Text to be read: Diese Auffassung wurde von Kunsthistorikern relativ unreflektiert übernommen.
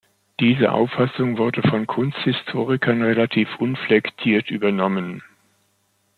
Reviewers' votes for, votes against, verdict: 0, 2, rejected